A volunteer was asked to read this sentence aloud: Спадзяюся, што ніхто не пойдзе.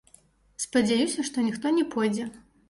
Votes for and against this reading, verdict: 1, 2, rejected